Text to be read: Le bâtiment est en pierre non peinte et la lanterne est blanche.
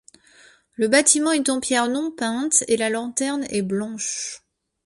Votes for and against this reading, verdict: 2, 0, accepted